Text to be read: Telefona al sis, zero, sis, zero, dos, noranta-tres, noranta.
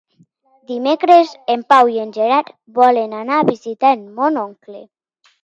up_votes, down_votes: 0, 2